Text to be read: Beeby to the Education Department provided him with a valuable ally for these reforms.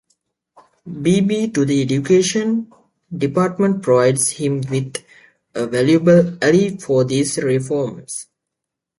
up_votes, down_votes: 1, 2